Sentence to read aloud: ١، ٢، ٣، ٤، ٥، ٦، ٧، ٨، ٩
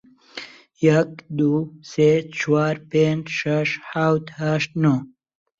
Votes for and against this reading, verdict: 0, 2, rejected